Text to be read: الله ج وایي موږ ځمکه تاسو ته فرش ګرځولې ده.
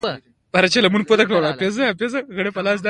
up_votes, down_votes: 0, 2